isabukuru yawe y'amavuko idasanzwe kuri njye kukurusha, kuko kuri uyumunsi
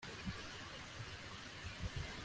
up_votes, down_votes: 1, 2